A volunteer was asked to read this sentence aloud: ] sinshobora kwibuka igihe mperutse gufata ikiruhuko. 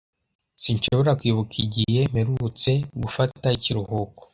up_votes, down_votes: 2, 0